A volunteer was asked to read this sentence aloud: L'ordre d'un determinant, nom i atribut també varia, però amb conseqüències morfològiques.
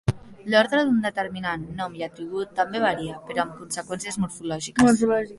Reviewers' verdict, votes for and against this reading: rejected, 1, 2